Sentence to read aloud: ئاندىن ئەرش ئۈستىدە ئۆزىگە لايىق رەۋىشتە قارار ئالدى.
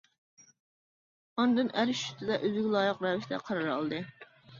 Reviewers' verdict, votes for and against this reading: rejected, 0, 2